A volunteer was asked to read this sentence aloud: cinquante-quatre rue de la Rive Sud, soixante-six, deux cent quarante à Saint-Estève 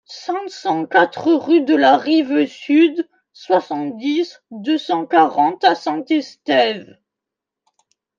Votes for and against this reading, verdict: 1, 2, rejected